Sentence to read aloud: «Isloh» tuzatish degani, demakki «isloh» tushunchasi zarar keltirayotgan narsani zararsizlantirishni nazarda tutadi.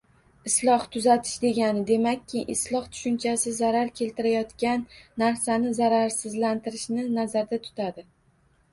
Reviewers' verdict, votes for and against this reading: rejected, 1, 2